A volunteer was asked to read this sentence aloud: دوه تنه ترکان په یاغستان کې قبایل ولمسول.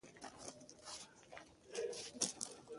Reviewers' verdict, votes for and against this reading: rejected, 0, 2